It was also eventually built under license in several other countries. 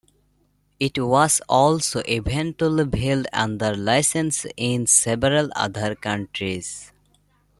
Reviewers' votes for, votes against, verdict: 1, 2, rejected